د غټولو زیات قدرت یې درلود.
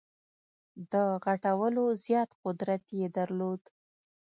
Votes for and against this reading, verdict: 2, 1, accepted